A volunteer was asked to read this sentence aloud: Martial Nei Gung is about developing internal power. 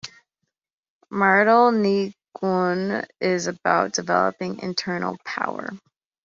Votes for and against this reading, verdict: 1, 2, rejected